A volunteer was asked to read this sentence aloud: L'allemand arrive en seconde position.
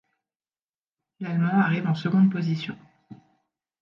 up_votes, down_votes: 2, 0